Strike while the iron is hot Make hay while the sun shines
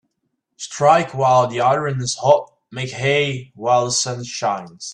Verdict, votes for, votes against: rejected, 1, 2